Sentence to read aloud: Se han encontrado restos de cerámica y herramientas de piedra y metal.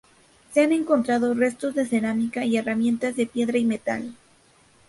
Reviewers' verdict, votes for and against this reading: accepted, 2, 0